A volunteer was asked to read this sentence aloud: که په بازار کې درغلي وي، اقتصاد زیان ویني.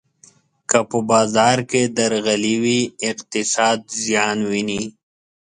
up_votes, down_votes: 2, 0